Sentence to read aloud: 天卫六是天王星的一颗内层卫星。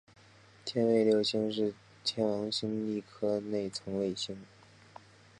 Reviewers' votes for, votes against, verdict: 5, 0, accepted